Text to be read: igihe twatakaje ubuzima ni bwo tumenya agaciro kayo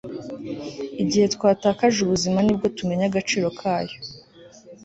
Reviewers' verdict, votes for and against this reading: accepted, 2, 0